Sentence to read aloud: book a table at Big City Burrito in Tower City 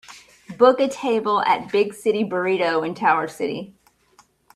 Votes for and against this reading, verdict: 2, 0, accepted